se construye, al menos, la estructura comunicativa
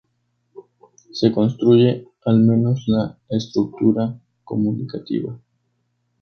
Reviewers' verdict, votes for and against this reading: accepted, 2, 0